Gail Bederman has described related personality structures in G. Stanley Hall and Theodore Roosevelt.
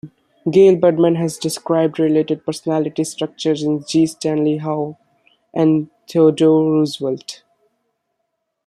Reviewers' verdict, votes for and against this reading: rejected, 0, 2